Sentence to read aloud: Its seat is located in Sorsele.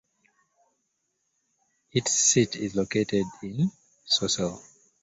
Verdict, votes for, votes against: rejected, 1, 3